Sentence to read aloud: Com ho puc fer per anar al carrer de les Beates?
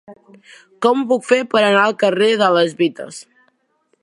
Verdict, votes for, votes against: rejected, 0, 2